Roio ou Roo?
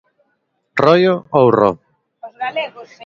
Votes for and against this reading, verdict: 1, 2, rejected